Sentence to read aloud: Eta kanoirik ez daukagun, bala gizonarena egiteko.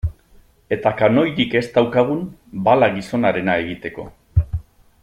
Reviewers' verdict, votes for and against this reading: accepted, 2, 1